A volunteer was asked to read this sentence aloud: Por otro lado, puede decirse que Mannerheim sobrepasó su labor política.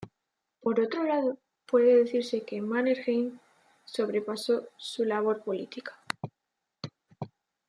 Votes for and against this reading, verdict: 2, 0, accepted